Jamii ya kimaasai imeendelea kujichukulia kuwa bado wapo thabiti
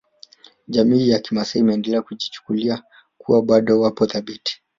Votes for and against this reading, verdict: 1, 2, rejected